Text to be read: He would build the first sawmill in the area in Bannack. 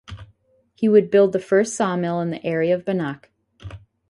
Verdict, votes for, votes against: rejected, 2, 2